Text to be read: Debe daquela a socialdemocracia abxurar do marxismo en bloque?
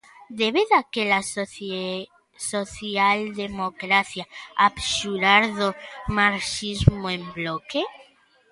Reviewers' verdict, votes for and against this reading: rejected, 0, 2